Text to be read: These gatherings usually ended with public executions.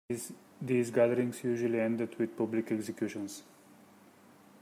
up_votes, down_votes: 2, 0